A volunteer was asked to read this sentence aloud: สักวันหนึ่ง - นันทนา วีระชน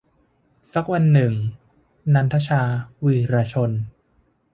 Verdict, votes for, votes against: rejected, 0, 2